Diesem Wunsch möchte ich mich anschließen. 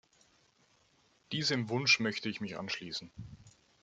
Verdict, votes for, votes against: accepted, 2, 0